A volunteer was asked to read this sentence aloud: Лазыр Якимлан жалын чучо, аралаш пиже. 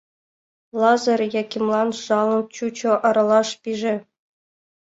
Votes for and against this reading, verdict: 2, 0, accepted